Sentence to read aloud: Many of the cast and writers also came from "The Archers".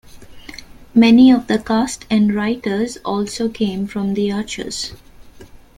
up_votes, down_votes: 2, 0